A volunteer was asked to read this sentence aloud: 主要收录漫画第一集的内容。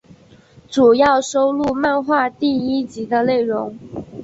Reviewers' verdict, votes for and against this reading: accepted, 3, 0